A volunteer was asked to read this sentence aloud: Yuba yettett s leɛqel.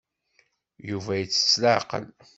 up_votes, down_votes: 2, 0